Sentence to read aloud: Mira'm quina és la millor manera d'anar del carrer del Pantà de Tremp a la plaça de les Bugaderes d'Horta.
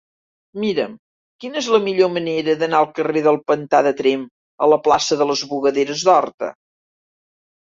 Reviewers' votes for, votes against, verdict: 3, 5, rejected